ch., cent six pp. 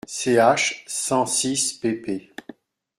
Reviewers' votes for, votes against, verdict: 0, 2, rejected